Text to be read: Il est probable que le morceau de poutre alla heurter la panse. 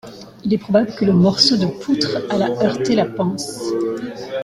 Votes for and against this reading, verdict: 1, 2, rejected